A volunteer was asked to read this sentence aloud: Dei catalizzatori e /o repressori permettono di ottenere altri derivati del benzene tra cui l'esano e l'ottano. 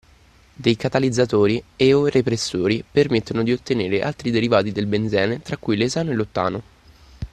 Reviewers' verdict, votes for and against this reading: accepted, 2, 0